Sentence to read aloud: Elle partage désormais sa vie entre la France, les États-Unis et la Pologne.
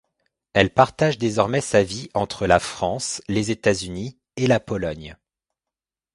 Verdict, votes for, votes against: accepted, 2, 0